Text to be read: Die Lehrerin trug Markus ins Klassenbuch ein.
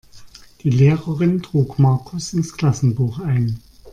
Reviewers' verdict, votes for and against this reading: accepted, 2, 0